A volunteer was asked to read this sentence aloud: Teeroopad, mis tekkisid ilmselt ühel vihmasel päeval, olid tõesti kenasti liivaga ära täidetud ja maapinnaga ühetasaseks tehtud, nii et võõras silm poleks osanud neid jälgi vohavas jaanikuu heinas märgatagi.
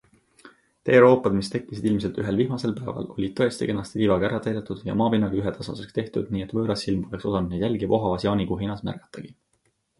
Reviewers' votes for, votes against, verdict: 4, 0, accepted